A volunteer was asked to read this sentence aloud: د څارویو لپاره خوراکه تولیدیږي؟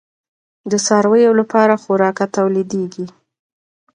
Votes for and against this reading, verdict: 2, 0, accepted